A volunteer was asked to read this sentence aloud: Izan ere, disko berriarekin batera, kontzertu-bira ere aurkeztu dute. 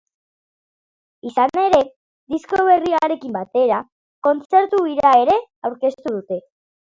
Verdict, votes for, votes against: accepted, 3, 1